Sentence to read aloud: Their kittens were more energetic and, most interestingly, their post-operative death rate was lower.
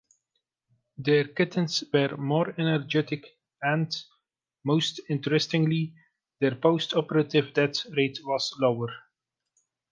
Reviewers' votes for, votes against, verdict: 1, 2, rejected